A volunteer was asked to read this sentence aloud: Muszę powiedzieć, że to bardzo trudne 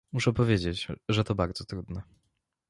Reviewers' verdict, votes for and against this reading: accepted, 2, 0